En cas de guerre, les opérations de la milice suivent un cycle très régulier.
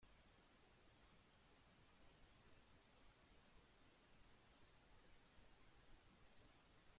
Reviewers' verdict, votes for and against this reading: rejected, 0, 2